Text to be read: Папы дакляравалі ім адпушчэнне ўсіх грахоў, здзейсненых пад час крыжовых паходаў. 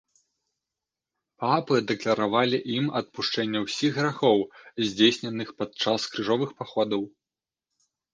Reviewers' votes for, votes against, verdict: 0, 2, rejected